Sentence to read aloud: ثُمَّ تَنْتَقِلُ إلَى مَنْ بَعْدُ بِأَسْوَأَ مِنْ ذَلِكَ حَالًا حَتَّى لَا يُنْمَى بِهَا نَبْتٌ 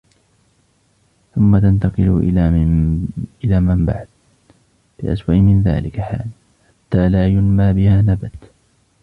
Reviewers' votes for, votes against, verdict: 0, 2, rejected